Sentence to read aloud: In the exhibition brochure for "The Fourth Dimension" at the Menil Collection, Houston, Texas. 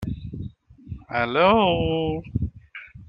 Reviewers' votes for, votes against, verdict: 0, 2, rejected